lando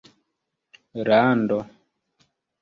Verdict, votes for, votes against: rejected, 0, 2